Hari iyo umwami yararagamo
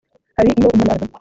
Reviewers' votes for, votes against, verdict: 1, 2, rejected